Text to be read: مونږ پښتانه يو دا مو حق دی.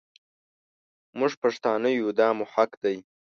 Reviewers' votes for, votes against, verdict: 2, 0, accepted